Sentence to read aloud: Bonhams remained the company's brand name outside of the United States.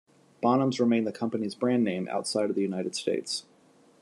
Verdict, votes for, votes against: accepted, 2, 0